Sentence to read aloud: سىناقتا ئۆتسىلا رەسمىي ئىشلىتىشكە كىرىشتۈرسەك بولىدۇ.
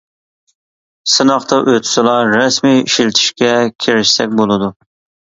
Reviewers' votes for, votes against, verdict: 0, 2, rejected